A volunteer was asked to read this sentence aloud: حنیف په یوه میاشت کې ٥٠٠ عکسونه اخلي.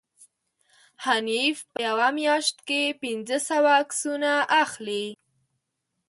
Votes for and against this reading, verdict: 0, 2, rejected